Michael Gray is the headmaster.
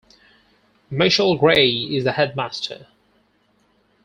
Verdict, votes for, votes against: rejected, 2, 4